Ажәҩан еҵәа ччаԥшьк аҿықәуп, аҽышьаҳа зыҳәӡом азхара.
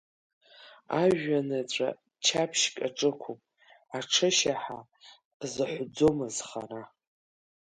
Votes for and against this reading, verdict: 2, 1, accepted